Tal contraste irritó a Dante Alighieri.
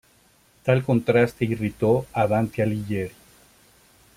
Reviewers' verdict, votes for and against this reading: rejected, 0, 2